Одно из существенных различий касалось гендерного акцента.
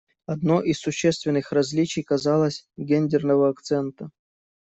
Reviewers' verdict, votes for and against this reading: rejected, 0, 2